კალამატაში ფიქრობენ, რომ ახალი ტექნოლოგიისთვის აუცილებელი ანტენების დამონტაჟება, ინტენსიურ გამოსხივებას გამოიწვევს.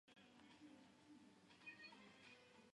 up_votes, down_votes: 0, 2